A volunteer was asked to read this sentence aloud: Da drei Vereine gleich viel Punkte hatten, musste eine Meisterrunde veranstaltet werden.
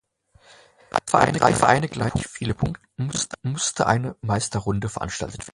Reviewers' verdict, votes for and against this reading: rejected, 0, 2